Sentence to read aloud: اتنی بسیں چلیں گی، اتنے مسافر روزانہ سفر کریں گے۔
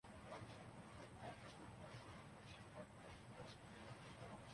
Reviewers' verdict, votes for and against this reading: rejected, 0, 2